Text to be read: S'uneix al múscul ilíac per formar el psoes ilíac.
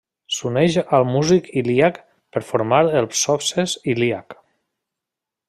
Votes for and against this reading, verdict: 0, 2, rejected